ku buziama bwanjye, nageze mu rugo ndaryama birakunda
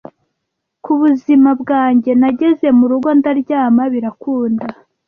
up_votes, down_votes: 1, 2